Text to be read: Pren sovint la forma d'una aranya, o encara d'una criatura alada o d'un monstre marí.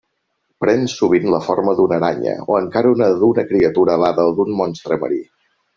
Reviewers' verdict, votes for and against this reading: rejected, 0, 2